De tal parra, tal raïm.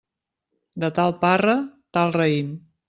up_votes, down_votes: 3, 0